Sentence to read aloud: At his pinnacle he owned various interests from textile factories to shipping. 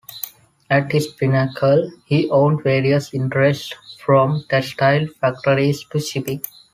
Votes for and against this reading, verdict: 2, 0, accepted